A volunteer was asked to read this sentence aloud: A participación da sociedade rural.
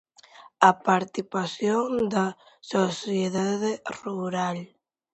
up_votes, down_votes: 0, 2